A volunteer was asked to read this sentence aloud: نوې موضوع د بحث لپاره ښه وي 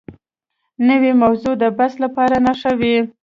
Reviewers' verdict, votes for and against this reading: rejected, 0, 2